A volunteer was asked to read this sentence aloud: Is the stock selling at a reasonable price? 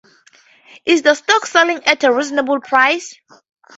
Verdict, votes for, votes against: accepted, 2, 0